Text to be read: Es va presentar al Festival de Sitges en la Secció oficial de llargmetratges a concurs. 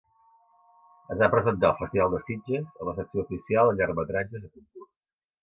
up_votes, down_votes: 1, 2